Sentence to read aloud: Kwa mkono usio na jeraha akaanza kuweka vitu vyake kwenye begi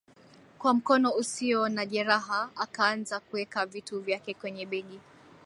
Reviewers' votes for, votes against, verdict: 0, 2, rejected